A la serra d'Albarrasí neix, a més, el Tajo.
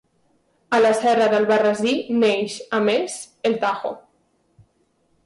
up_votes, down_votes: 2, 0